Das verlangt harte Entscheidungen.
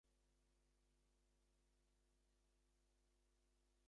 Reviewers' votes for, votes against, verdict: 0, 2, rejected